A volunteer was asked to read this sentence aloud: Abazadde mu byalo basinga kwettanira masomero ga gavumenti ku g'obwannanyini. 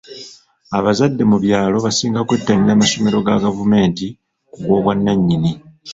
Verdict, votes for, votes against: accepted, 2, 1